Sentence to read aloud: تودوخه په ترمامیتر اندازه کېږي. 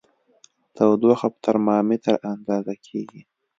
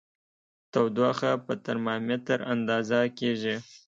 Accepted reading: second